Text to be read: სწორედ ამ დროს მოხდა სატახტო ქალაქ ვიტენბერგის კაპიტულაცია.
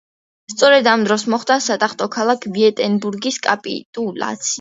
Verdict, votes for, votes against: rejected, 0, 2